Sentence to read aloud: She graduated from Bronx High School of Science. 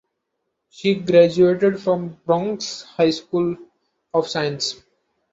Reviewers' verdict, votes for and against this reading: accepted, 2, 0